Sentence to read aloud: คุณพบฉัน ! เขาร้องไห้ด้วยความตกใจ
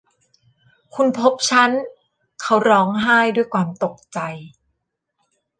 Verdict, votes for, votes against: rejected, 1, 2